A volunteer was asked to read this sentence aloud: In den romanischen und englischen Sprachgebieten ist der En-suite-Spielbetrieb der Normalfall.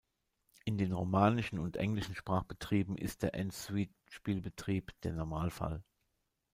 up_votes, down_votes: 0, 2